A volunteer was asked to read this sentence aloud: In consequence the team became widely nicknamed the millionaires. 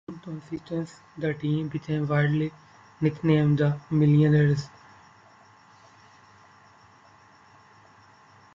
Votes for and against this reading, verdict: 1, 2, rejected